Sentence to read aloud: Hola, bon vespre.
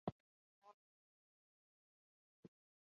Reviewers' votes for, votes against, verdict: 0, 2, rejected